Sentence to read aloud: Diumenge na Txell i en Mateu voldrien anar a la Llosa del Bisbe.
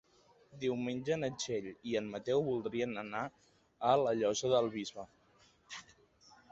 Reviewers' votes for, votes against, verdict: 3, 1, accepted